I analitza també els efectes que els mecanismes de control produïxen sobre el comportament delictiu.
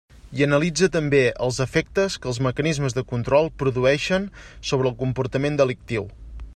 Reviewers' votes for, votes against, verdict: 2, 0, accepted